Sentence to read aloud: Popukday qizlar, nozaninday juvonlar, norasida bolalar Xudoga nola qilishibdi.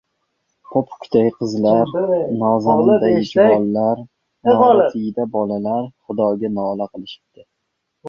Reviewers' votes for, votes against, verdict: 0, 2, rejected